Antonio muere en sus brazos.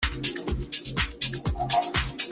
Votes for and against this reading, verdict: 0, 3, rejected